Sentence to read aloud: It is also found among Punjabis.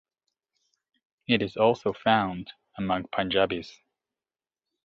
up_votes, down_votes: 2, 0